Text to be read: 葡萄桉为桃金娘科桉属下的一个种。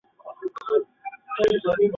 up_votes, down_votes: 0, 5